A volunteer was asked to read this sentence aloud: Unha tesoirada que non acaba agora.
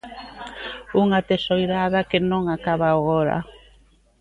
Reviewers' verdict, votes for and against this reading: rejected, 1, 2